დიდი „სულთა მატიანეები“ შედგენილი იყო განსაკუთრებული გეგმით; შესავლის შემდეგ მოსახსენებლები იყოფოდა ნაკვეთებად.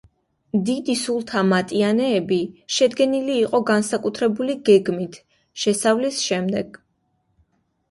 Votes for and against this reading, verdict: 0, 2, rejected